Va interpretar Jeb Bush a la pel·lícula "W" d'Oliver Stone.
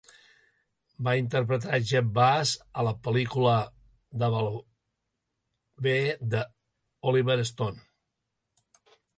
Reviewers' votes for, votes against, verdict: 0, 2, rejected